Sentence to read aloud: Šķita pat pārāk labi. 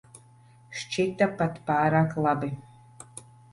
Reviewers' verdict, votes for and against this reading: accepted, 2, 0